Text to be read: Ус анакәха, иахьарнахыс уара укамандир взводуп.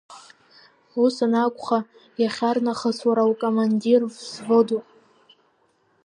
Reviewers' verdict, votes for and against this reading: accepted, 2, 0